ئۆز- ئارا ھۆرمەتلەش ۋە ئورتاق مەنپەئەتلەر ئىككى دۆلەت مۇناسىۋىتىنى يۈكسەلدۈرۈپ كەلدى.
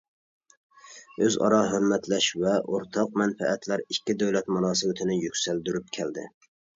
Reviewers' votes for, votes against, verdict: 2, 0, accepted